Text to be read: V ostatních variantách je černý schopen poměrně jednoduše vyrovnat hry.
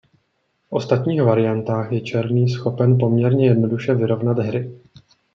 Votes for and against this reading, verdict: 2, 0, accepted